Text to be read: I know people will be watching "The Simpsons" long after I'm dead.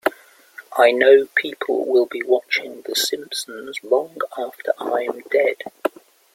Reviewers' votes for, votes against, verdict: 3, 0, accepted